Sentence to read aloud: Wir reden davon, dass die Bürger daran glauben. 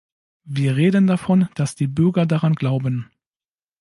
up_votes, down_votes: 2, 0